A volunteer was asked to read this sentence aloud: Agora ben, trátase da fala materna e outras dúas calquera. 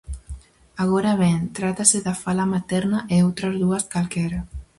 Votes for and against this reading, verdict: 4, 0, accepted